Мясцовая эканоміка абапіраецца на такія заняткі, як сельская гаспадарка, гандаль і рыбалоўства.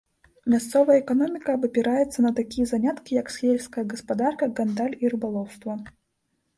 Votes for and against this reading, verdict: 0, 2, rejected